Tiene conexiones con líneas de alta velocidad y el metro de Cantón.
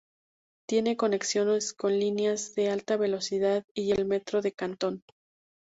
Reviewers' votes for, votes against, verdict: 2, 0, accepted